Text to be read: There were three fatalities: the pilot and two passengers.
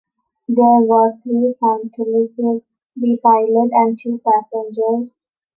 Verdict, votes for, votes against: rejected, 0, 2